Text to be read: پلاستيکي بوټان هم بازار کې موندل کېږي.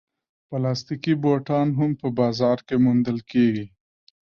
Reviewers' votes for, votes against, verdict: 0, 2, rejected